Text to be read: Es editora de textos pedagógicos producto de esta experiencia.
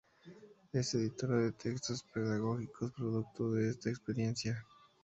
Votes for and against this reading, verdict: 2, 2, rejected